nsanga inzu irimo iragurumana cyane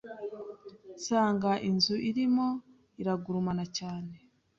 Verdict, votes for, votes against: accepted, 2, 0